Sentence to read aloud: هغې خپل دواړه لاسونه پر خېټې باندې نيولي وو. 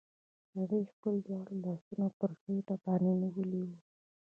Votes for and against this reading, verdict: 2, 0, accepted